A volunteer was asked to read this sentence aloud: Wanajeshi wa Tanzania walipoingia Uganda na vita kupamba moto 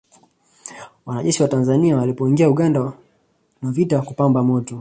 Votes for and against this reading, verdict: 2, 0, accepted